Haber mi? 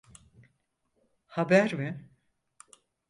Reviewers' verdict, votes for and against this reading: accepted, 4, 0